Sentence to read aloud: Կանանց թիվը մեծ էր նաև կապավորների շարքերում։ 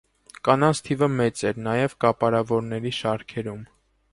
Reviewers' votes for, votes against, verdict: 0, 2, rejected